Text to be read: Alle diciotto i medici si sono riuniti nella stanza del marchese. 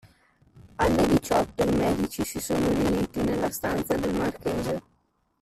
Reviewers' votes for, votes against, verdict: 2, 0, accepted